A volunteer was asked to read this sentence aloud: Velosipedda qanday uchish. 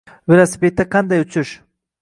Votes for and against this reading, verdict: 2, 1, accepted